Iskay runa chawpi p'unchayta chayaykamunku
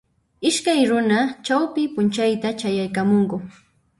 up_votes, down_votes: 1, 2